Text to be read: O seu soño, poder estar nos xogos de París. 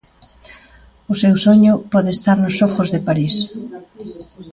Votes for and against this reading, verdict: 2, 0, accepted